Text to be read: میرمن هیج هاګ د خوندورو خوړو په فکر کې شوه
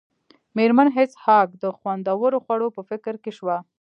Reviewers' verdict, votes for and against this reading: accepted, 2, 0